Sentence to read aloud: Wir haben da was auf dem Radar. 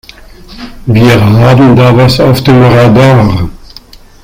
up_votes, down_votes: 0, 2